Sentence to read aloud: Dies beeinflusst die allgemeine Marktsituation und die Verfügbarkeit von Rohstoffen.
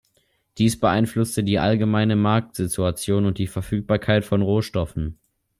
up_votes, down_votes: 1, 2